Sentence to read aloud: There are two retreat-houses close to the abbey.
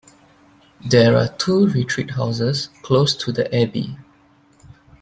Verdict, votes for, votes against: accepted, 2, 1